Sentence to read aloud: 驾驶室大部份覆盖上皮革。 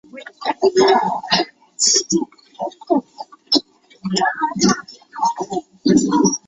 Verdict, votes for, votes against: rejected, 1, 4